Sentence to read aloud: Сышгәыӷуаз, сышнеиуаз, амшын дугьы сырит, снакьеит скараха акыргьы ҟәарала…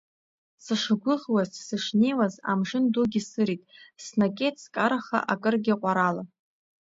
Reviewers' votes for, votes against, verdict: 2, 0, accepted